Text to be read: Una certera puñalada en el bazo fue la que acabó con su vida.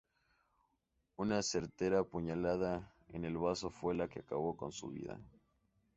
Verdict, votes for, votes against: accepted, 2, 0